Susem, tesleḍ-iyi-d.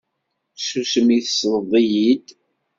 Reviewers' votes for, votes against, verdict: 0, 2, rejected